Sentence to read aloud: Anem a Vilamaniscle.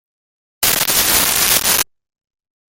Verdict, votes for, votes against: rejected, 0, 2